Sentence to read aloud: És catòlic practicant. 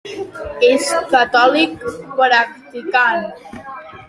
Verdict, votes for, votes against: accepted, 3, 1